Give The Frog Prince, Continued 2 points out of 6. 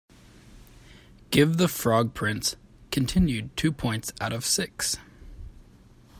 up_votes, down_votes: 0, 2